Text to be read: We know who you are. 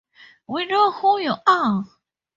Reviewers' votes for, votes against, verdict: 2, 0, accepted